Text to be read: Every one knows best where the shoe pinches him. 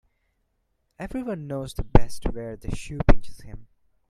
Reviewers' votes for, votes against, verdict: 1, 2, rejected